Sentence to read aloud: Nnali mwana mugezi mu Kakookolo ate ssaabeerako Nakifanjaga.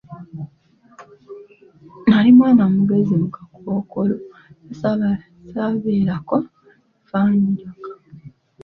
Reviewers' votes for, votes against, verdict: 0, 2, rejected